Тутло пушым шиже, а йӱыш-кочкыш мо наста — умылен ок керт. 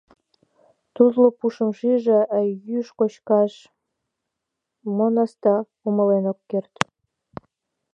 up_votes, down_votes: 1, 2